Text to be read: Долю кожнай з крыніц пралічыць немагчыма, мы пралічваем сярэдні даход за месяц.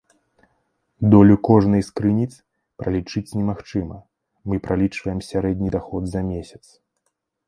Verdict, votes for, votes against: accepted, 2, 0